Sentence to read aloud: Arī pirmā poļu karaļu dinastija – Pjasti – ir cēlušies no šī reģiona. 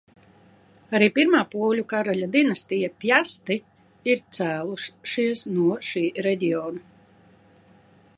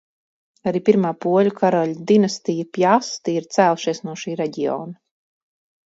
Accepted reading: second